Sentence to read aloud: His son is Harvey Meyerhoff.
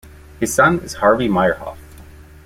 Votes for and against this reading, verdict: 2, 0, accepted